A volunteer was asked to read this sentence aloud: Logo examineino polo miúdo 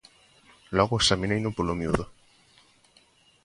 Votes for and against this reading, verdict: 2, 0, accepted